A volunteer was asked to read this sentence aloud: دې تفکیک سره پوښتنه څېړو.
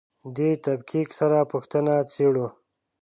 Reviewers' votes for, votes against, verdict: 4, 0, accepted